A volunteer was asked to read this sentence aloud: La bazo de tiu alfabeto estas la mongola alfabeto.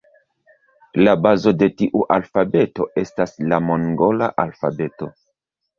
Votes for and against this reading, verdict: 0, 2, rejected